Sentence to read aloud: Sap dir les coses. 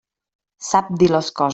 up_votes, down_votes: 0, 2